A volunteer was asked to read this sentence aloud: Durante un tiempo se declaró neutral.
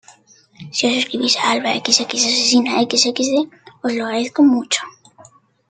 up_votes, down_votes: 0, 2